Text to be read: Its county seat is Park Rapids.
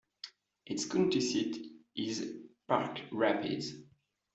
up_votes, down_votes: 2, 1